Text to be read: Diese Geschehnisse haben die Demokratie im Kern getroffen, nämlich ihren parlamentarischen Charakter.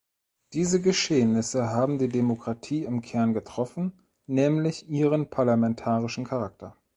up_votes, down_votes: 2, 0